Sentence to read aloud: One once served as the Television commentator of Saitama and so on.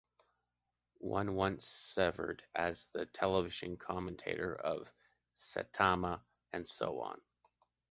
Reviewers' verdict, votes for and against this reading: rejected, 0, 2